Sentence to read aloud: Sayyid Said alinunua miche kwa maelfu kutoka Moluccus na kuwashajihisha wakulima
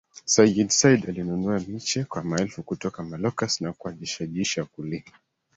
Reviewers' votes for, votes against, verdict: 1, 2, rejected